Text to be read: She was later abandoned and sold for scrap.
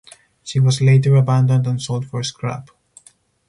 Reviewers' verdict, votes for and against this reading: accepted, 4, 0